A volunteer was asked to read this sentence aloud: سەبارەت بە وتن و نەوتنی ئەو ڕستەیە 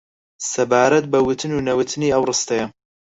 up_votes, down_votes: 0, 4